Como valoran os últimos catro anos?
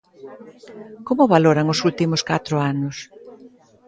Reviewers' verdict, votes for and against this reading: accepted, 2, 0